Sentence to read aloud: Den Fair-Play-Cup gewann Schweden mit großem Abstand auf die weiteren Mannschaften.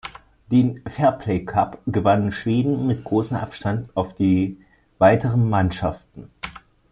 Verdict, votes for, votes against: rejected, 1, 2